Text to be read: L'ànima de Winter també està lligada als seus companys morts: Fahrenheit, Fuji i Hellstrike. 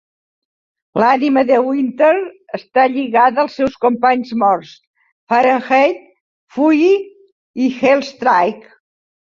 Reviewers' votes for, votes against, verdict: 0, 2, rejected